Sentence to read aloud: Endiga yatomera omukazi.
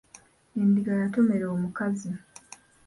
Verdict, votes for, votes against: accepted, 2, 0